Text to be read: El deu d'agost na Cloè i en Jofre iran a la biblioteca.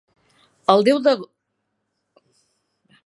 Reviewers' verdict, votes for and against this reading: rejected, 1, 5